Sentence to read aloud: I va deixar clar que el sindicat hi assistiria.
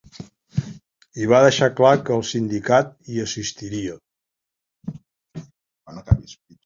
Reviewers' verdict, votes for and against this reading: accepted, 2, 1